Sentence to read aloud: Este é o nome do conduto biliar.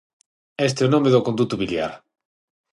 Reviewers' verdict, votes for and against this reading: accepted, 6, 0